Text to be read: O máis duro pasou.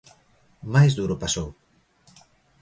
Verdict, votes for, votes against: accepted, 2, 0